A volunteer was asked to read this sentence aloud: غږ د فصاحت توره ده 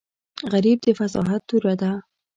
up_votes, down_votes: 1, 2